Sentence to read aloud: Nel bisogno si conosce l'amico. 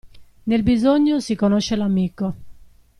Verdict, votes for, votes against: accepted, 2, 0